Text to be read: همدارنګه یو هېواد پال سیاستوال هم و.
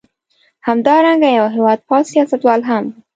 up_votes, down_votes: 1, 2